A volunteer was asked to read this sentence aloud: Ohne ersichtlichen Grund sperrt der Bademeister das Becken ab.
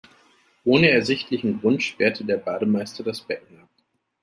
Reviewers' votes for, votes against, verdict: 1, 2, rejected